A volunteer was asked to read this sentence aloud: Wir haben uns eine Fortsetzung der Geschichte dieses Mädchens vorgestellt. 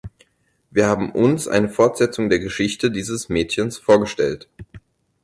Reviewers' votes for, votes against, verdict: 4, 0, accepted